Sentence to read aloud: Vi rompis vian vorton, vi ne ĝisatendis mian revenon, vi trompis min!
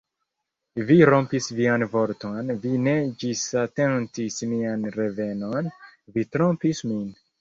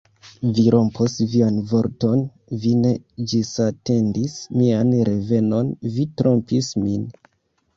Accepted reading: first